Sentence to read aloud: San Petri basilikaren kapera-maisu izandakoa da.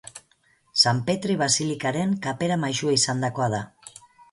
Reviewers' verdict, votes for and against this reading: rejected, 2, 2